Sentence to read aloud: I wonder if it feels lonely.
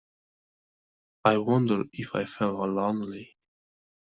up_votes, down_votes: 0, 2